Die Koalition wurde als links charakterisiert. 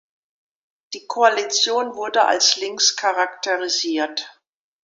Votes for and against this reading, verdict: 2, 0, accepted